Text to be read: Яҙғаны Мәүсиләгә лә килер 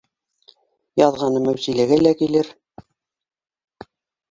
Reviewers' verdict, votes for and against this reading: accepted, 2, 1